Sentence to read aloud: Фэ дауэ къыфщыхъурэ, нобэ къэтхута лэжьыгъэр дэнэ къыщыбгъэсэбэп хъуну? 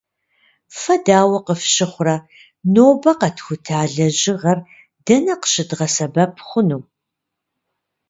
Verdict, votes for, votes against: rejected, 1, 2